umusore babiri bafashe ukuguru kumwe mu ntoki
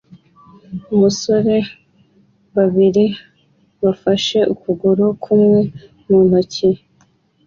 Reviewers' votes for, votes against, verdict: 2, 0, accepted